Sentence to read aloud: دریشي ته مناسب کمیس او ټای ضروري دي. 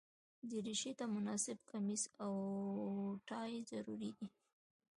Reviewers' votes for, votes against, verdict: 2, 1, accepted